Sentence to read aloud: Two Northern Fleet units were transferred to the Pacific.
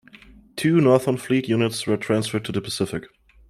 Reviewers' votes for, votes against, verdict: 2, 1, accepted